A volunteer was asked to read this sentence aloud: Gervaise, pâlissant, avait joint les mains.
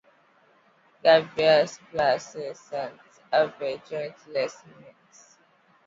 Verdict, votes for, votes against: rejected, 0, 2